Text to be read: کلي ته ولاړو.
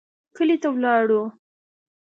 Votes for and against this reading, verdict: 2, 0, accepted